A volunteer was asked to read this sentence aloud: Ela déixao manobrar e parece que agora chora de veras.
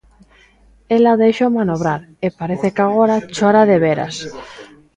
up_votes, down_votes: 2, 0